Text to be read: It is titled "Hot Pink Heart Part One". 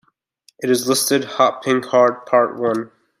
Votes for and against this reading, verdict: 0, 2, rejected